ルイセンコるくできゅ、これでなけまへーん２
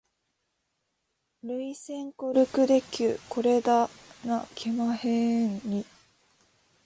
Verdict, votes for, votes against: rejected, 0, 2